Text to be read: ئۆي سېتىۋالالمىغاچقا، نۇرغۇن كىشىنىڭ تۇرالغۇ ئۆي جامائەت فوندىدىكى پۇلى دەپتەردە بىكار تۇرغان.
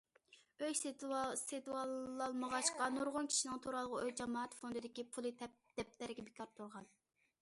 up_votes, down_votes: 0, 2